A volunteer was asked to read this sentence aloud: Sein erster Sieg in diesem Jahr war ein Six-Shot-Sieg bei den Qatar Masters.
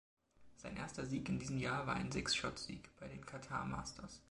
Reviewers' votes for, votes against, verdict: 1, 2, rejected